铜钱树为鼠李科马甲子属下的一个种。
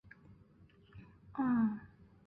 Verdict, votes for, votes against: rejected, 1, 4